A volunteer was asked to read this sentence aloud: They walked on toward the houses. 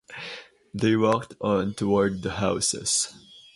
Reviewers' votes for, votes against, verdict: 0, 4, rejected